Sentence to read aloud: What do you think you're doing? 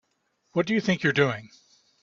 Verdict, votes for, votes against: accepted, 2, 0